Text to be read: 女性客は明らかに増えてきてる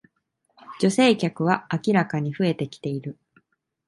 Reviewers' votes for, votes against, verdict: 2, 0, accepted